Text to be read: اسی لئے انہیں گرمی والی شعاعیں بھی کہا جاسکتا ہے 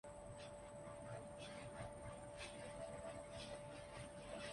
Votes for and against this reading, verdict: 0, 2, rejected